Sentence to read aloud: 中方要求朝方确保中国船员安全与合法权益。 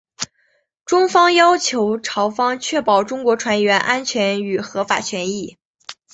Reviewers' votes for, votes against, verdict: 2, 0, accepted